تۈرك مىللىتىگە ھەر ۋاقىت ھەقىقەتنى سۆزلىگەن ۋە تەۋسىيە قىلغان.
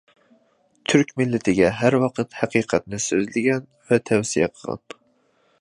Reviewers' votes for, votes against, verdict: 2, 0, accepted